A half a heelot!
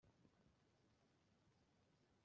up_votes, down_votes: 0, 2